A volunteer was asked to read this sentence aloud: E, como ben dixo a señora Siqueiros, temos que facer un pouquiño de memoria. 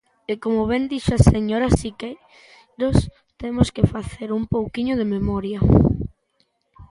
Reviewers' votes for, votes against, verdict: 0, 2, rejected